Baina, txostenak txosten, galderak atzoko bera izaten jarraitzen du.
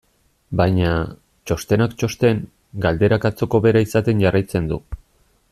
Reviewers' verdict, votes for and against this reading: accepted, 2, 0